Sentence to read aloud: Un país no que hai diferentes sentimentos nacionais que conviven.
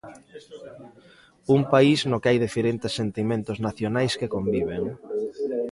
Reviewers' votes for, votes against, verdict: 0, 2, rejected